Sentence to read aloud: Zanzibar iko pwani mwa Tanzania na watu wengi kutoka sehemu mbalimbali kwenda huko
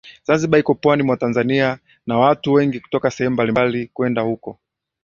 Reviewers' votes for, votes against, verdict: 3, 0, accepted